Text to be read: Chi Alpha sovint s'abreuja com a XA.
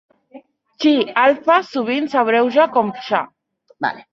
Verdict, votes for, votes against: rejected, 1, 2